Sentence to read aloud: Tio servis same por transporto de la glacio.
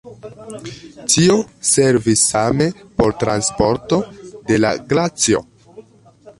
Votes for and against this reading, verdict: 2, 0, accepted